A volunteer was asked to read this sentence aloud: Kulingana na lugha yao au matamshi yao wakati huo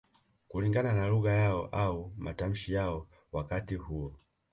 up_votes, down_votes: 2, 0